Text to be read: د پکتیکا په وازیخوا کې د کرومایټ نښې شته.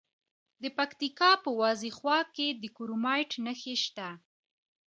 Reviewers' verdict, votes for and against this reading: accepted, 2, 0